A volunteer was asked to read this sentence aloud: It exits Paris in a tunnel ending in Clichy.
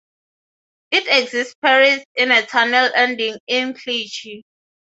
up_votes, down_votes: 6, 0